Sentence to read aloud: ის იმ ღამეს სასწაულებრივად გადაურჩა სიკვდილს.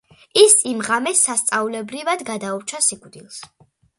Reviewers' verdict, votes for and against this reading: accepted, 2, 0